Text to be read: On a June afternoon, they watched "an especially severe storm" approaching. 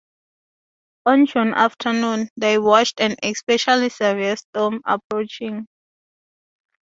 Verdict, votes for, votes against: rejected, 0, 2